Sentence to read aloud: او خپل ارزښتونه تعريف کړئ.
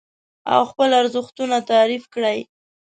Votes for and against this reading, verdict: 2, 0, accepted